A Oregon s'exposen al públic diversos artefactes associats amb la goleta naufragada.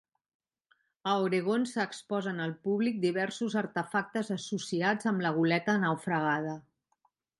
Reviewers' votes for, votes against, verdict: 2, 0, accepted